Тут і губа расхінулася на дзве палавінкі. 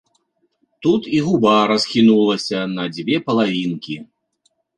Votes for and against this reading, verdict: 2, 0, accepted